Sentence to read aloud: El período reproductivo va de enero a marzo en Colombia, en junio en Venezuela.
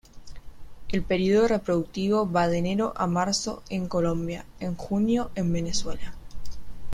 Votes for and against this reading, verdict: 2, 0, accepted